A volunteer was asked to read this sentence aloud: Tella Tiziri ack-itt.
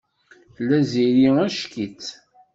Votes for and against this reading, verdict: 1, 2, rejected